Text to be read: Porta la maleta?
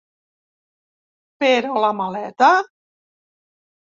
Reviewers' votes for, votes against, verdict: 1, 3, rejected